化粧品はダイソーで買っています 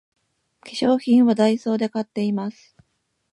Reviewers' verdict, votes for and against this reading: accepted, 2, 0